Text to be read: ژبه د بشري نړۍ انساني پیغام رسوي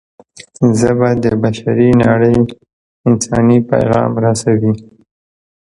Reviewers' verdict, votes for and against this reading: accepted, 2, 0